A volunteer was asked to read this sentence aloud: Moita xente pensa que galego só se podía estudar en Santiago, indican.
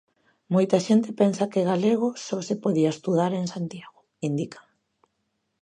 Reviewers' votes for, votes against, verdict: 2, 0, accepted